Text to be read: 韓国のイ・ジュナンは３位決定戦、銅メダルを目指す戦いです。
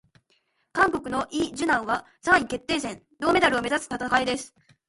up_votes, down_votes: 0, 2